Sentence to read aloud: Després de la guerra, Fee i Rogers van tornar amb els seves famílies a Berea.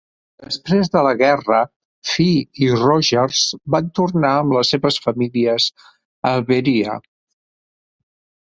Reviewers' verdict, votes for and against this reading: accepted, 2, 0